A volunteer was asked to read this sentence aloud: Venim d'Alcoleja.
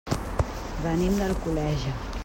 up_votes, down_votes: 0, 2